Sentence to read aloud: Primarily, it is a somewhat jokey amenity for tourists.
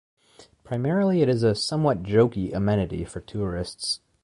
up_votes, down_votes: 1, 2